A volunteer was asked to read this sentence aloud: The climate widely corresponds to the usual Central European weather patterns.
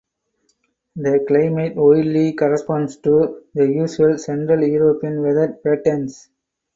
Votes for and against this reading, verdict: 4, 2, accepted